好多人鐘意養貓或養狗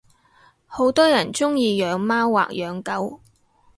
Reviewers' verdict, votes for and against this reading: accepted, 2, 0